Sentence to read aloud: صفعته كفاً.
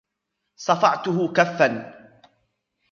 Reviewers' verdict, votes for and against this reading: accepted, 2, 1